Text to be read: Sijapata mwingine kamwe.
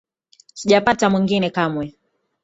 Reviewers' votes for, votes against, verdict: 3, 0, accepted